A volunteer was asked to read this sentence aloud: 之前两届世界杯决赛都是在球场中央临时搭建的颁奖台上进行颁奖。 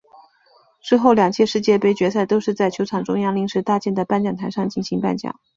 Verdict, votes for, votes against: rejected, 0, 2